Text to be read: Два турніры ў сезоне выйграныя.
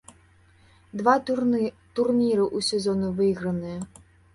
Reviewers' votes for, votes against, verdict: 0, 2, rejected